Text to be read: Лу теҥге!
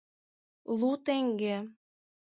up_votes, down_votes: 4, 0